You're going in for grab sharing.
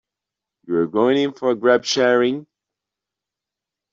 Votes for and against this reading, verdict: 1, 2, rejected